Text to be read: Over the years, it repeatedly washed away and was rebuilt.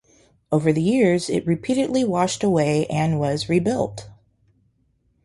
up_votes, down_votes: 2, 0